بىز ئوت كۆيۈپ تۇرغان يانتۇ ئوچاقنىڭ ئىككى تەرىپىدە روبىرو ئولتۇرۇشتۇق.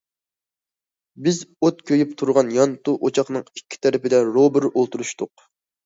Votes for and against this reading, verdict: 2, 1, accepted